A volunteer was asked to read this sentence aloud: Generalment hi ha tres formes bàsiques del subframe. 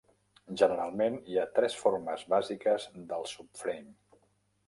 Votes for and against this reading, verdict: 0, 2, rejected